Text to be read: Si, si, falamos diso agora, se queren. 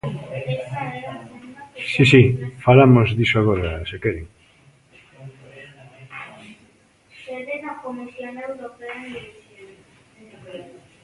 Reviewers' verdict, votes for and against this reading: rejected, 1, 2